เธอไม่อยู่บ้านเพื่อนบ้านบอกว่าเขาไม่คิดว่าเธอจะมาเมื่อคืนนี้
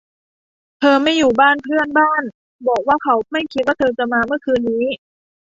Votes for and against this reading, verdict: 2, 0, accepted